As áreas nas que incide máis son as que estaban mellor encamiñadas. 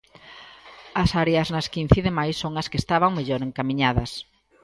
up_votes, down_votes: 2, 0